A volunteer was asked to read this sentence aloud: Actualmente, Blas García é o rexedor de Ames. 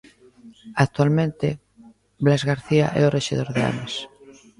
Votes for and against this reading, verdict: 1, 2, rejected